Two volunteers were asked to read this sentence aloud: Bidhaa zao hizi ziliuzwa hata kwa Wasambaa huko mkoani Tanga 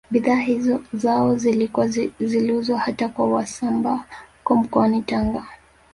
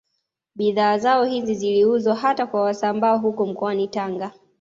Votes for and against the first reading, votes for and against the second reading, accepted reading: 1, 2, 2, 1, second